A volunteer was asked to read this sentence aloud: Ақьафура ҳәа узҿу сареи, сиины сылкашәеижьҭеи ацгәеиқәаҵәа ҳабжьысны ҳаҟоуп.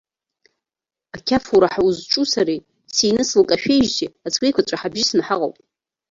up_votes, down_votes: 1, 2